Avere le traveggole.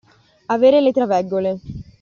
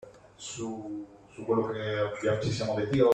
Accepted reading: first